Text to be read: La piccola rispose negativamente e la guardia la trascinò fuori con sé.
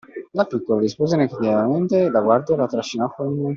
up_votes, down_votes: 0, 2